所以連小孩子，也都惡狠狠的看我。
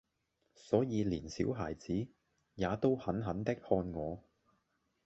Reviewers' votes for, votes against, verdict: 0, 2, rejected